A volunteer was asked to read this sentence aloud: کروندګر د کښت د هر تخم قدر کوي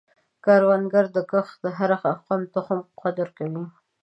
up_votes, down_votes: 0, 2